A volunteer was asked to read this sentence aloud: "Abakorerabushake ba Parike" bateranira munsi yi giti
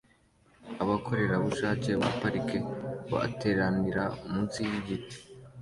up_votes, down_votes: 2, 0